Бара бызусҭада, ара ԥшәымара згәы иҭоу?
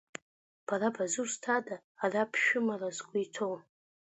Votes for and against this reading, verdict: 0, 2, rejected